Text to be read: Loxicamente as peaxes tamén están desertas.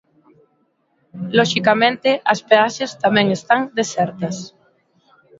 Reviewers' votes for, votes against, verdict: 2, 0, accepted